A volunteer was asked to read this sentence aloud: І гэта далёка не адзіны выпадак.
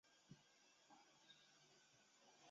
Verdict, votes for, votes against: rejected, 0, 2